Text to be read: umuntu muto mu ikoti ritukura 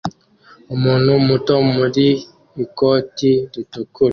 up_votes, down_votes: 2, 1